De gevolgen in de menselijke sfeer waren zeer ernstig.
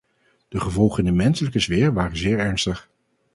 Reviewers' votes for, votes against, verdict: 2, 0, accepted